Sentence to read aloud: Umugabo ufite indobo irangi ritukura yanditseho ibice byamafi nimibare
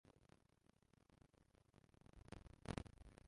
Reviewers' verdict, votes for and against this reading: rejected, 0, 2